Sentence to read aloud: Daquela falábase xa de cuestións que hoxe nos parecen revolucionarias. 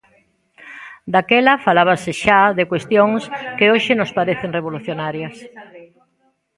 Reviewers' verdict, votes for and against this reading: rejected, 0, 2